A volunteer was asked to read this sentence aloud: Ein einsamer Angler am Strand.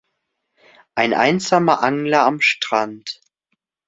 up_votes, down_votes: 2, 0